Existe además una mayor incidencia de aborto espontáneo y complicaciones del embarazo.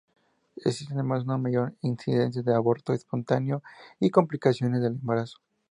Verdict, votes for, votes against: accepted, 2, 0